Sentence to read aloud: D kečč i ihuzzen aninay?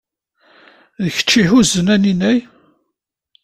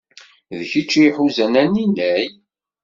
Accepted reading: first